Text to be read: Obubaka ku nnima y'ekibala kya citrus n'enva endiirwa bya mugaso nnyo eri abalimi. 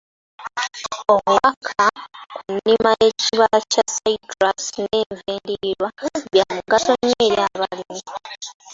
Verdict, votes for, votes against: rejected, 1, 2